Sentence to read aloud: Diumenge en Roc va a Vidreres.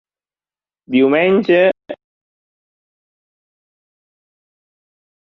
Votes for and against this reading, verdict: 1, 2, rejected